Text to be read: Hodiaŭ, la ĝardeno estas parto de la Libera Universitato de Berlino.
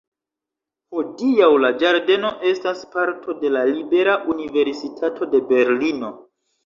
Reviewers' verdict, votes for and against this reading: rejected, 1, 2